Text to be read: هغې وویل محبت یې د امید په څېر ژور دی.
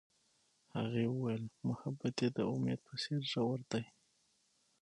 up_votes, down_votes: 6, 3